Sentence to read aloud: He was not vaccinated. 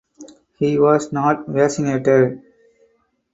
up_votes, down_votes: 4, 0